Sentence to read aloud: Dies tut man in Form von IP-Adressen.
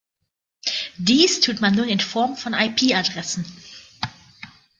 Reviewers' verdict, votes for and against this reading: rejected, 1, 3